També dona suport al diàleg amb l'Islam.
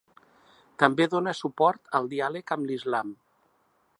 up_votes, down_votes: 4, 0